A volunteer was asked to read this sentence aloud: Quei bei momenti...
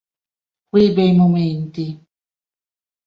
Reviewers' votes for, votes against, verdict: 2, 1, accepted